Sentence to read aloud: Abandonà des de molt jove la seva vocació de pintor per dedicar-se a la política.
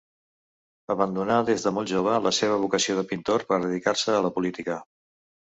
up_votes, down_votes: 2, 1